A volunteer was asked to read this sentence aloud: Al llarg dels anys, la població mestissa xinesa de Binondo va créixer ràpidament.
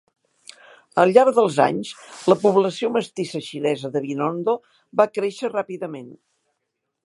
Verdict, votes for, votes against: accepted, 4, 0